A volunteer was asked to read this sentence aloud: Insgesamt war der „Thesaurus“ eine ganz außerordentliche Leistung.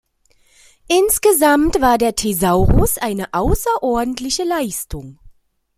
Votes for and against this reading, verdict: 0, 2, rejected